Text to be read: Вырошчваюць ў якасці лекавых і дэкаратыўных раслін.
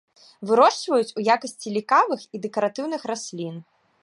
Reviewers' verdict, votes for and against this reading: rejected, 0, 2